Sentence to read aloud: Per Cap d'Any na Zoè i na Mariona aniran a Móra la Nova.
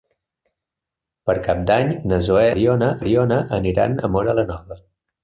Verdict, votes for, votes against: rejected, 0, 2